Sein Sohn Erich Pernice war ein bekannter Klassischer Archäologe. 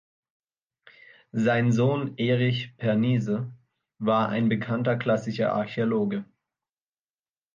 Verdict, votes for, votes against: rejected, 0, 3